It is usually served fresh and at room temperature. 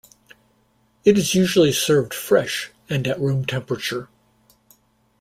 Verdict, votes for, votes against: accepted, 2, 0